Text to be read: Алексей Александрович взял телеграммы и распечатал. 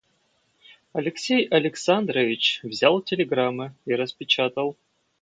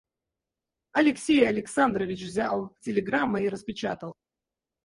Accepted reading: first